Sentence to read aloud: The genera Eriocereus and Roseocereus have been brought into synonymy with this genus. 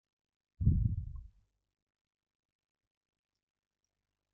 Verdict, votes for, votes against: rejected, 0, 2